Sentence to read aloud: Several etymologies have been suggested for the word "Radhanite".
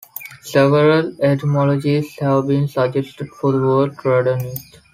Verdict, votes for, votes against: accepted, 2, 0